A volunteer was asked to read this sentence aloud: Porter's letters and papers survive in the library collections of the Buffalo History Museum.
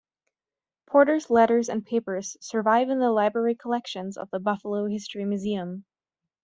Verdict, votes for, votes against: accepted, 2, 0